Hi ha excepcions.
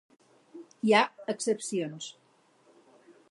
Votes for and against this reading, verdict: 2, 0, accepted